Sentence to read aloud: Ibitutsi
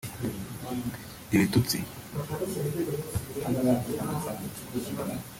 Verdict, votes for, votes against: rejected, 1, 2